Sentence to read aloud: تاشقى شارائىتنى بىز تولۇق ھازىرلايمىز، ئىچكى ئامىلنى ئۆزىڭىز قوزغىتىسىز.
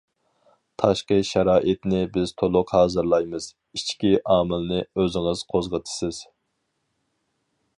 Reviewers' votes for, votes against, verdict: 4, 0, accepted